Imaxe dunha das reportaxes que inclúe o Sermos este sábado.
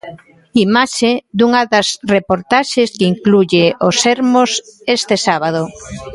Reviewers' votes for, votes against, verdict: 0, 2, rejected